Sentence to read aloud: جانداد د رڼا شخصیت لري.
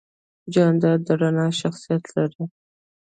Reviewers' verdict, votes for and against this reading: accepted, 2, 0